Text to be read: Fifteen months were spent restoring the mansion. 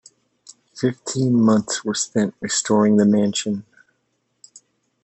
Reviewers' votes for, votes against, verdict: 1, 2, rejected